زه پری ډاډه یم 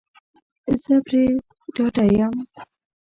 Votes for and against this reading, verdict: 0, 2, rejected